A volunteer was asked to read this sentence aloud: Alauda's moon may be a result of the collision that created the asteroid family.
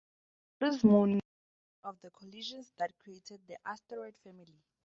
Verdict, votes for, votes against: rejected, 0, 2